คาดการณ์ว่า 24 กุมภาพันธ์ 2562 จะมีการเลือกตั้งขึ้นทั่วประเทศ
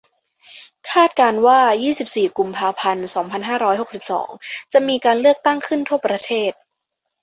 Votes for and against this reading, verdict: 0, 2, rejected